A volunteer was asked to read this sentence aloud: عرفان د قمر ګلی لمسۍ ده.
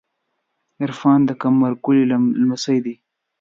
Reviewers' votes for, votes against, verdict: 1, 2, rejected